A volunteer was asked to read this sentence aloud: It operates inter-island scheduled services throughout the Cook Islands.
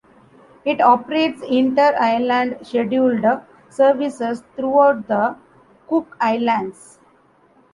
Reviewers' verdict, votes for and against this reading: rejected, 0, 2